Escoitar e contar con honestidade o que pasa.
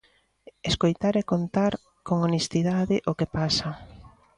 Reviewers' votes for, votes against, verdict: 2, 0, accepted